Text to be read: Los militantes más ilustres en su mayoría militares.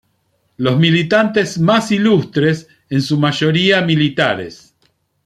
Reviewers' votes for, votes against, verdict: 2, 0, accepted